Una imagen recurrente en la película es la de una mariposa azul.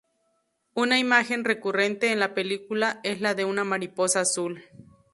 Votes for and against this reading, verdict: 2, 0, accepted